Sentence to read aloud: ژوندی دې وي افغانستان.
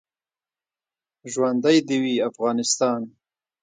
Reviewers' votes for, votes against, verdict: 2, 1, accepted